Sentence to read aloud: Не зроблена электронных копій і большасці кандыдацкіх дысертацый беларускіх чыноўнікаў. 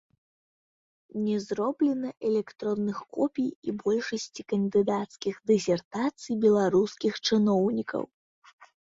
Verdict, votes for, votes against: accepted, 2, 0